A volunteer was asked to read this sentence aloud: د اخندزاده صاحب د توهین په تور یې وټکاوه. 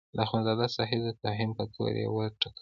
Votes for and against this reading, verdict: 1, 2, rejected